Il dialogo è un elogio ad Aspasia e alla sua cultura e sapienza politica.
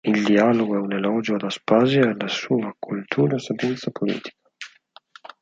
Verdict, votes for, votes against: rejected, 2, 4